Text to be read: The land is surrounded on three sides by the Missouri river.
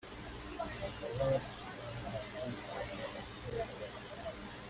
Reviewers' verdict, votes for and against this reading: rejected, 0, 2